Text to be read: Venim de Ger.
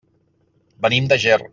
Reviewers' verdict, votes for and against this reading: accepted, 3, 0